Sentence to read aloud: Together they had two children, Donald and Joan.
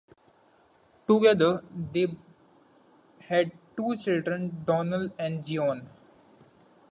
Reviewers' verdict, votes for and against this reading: accepted, 2, 0